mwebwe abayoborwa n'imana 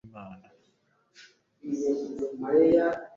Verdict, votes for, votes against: rejected, 1, 2